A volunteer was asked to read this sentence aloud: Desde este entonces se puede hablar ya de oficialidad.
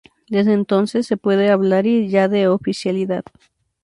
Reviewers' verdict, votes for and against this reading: rejected, 0, 2